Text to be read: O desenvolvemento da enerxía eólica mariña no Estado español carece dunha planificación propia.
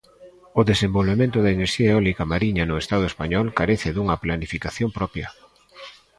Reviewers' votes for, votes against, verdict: 2, 1, accepted